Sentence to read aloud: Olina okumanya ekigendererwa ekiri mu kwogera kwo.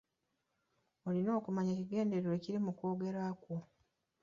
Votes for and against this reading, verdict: 2, 0, accepted